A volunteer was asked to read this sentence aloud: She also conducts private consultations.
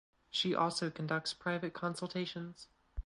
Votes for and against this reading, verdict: 2, 0, accepted